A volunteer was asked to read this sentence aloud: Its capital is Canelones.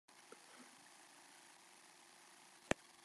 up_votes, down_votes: 1, 2